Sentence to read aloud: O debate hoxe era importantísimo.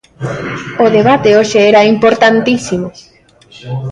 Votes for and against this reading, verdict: 0, 2, rejected